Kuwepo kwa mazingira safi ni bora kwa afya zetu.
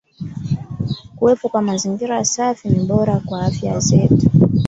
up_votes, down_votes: 2, 1